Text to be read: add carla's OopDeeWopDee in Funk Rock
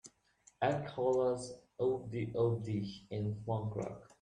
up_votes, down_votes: 2, 1